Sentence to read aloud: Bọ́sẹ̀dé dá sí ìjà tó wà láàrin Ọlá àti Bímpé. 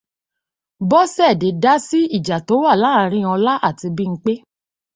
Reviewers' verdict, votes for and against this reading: accepted, 2, 0